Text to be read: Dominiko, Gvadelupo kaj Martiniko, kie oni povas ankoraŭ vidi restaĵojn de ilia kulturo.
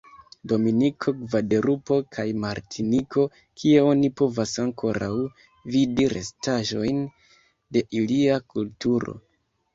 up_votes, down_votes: 1, 2